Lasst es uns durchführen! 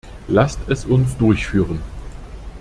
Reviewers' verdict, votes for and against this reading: accepted, 2, 0